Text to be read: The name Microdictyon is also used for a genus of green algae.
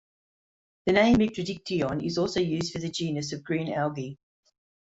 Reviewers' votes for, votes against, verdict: 1, 3, rejected